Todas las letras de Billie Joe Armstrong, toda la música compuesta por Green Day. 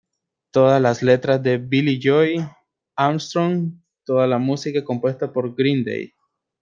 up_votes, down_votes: 2, 1